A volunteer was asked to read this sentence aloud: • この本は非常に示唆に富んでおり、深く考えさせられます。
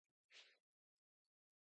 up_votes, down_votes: 0, 2